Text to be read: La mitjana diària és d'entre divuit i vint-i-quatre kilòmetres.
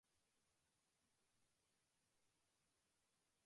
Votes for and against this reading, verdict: 0, 2, rejected